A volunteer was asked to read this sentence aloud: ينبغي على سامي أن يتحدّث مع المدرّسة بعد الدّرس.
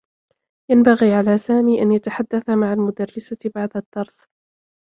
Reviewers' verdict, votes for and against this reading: accepted, 2, 0